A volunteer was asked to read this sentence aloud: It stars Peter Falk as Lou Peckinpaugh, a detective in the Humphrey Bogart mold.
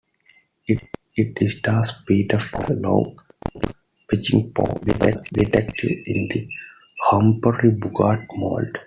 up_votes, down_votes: 2, 1